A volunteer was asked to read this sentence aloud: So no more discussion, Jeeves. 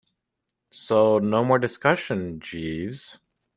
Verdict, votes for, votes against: accepted, 2, 0